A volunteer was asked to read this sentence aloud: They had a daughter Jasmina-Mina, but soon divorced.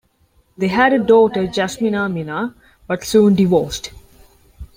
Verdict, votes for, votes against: accepted, 2, 1